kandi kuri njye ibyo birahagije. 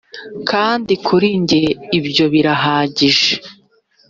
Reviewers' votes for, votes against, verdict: 2, 0, accepted